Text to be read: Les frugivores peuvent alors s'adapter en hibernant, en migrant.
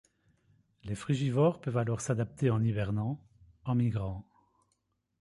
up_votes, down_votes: 0, 2